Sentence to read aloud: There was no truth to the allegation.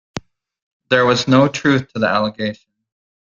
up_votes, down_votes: 2, 1